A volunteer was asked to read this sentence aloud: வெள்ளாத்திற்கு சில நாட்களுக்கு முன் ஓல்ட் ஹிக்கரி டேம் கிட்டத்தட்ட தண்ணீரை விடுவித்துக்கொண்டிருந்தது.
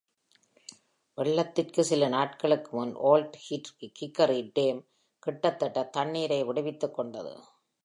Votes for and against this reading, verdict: 0, 2, rejected